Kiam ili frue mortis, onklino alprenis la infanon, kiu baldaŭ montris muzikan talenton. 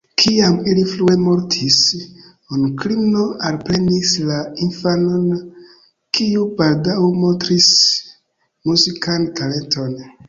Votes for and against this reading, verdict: 2, 0, accepted